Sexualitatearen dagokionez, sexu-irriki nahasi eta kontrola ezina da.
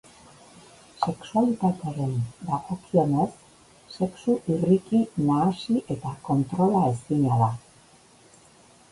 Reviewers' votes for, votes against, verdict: 1, 2, rejected